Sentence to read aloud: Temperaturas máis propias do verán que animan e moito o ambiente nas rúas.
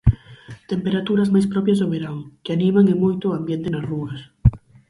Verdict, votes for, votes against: accepted, 4, 0